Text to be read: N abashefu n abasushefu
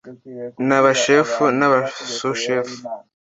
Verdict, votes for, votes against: accepted, 2, 0